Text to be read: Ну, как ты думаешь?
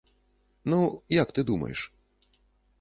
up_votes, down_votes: 1, 2